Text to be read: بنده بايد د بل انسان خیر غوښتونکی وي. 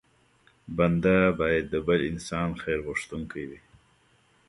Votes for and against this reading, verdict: 0, 2, rejected